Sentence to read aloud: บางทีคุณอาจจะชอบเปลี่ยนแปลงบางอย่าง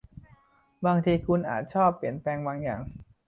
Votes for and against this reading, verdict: 0, 2, rejected